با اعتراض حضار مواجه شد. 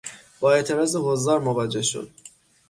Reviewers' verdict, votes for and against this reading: accepted, 6, 0